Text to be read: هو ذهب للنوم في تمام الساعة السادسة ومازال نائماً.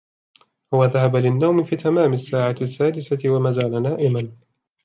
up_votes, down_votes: 2, 1